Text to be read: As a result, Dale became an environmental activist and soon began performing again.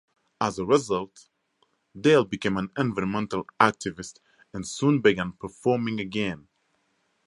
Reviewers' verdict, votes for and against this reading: accepted, 4, 0